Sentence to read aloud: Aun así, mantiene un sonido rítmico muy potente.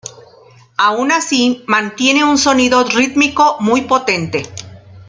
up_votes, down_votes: 2, 0